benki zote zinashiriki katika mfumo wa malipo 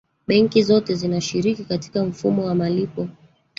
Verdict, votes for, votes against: rejected, 1, 2